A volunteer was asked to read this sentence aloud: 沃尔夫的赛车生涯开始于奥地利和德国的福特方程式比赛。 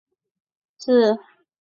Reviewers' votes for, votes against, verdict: 0, 3, rejected